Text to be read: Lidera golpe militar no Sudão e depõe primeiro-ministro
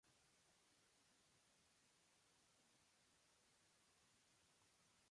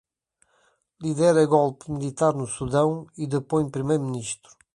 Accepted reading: second